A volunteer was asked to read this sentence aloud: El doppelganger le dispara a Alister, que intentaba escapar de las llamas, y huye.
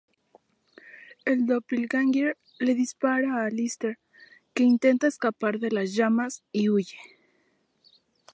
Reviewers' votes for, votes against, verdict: 0, 2, rejected